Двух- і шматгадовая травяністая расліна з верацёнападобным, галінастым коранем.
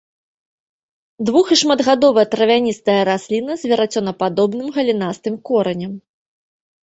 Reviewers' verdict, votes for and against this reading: accepted, 2, 0